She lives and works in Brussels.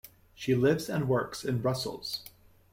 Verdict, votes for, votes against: accepted, 2, 0